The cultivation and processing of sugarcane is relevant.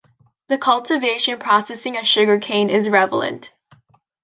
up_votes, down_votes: 0, 2